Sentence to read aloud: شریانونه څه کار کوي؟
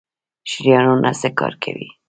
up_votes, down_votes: 2, 1